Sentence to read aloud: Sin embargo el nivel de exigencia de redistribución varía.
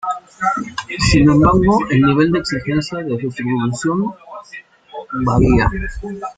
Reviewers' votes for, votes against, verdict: 0, 2, rejected